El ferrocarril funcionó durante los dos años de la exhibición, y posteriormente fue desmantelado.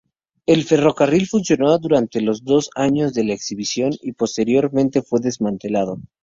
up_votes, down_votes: 2, 0